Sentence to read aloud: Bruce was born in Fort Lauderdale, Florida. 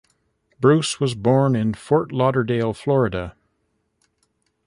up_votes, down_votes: 1, 2